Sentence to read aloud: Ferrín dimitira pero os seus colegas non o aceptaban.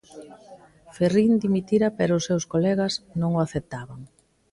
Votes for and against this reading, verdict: 2, 0, accepted